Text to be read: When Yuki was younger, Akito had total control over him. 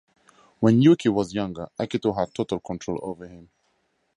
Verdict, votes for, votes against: rejected, 2, 2